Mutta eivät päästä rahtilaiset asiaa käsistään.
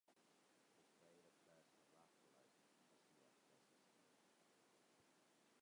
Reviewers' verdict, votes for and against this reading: rejected, 0, 2